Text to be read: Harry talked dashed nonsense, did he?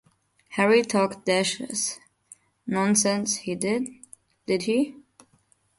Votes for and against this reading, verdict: 0, 2, rejected